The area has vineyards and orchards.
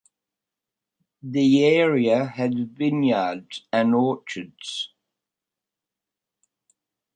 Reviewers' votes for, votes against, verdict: 0, 2, rejected